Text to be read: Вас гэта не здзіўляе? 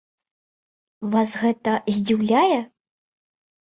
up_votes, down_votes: 0, 2